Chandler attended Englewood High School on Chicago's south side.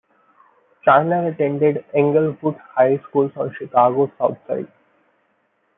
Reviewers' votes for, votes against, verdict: 0, 2, rejected